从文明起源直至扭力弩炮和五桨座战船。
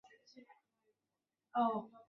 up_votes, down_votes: 1, 5